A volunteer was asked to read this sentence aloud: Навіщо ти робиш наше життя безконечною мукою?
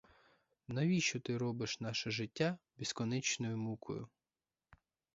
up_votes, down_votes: 4, 0